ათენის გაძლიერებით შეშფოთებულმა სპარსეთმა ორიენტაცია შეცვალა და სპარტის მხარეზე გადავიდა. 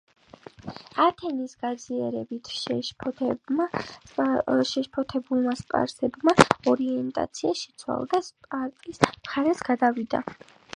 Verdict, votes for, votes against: accepted, 3, 1